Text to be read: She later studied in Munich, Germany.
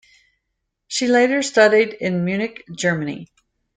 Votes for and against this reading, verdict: 2, 0, accepted